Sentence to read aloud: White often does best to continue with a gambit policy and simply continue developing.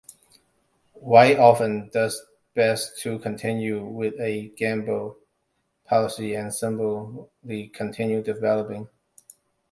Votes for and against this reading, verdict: 2, 0, accepted